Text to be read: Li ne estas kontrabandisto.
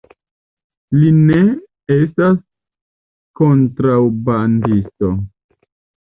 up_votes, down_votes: 0, 2